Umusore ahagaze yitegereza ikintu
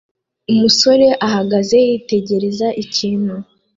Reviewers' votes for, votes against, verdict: 2, 0, accepted